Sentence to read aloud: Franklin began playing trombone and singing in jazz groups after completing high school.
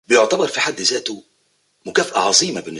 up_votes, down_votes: 0, 2